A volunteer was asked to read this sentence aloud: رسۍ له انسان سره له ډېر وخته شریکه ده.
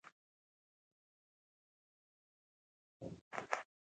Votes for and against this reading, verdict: 2, 1, accepted